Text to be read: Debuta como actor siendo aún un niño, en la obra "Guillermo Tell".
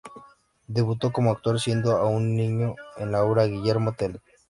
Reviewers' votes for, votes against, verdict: 0, 2, rejected